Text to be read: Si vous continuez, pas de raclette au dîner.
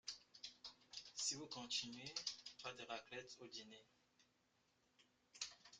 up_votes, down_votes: 2, 0